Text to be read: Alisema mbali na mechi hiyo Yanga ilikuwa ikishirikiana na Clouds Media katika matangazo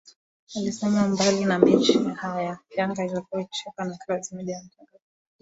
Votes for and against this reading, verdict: 3, 4, rejected